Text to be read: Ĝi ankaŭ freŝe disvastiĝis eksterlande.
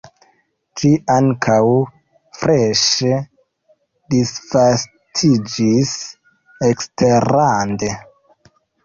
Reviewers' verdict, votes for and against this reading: rejected, 0, 2